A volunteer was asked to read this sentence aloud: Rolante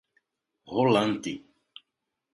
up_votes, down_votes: 0, 2